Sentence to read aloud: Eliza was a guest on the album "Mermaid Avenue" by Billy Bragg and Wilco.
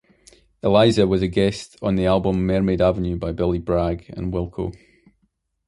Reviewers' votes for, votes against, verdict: 2, 0, accepted